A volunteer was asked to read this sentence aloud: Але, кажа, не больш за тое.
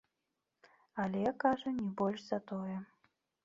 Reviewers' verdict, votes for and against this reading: accepted, 2, 0